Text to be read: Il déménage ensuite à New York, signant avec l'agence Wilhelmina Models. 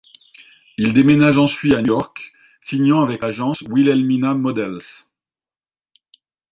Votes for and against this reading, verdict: 0, 2, rejected